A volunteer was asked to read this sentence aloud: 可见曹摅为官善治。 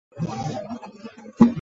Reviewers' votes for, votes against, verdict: 0, 4, rejected